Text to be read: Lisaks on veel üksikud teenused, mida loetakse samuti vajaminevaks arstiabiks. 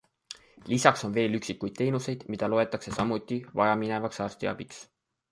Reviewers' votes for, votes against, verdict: 2, 0, accepted